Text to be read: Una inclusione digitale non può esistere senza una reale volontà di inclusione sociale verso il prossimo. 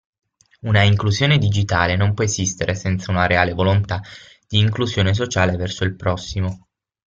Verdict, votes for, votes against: accepted, 6, 0